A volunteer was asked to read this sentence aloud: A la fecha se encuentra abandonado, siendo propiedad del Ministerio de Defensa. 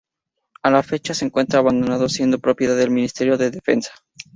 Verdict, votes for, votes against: accepted, 4, 0